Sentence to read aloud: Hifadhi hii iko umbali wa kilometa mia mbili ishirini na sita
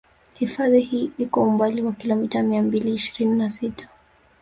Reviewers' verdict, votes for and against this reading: rejected, 1, 2